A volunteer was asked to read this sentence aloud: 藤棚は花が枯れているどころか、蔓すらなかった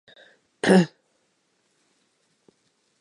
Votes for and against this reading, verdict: 2, 4, rejected